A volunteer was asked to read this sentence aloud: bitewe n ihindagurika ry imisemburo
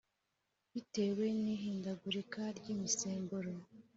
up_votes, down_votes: 2, 0